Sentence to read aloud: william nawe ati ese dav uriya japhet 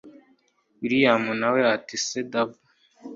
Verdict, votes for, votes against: rejected, 1, 2